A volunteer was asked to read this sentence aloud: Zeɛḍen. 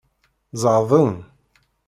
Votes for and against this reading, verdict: 2, 0, accepted